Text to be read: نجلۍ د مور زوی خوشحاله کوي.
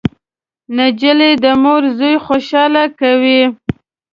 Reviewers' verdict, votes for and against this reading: rejected, 0, 2